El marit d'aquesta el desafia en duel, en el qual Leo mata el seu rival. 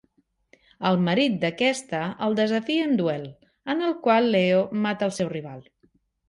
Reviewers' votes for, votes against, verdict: 2, 0, accepted